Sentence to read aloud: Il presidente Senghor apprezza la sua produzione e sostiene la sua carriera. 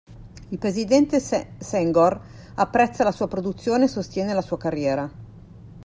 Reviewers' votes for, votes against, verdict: 1, 2, rejected